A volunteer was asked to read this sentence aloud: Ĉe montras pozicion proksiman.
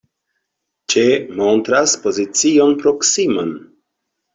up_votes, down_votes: 2, 0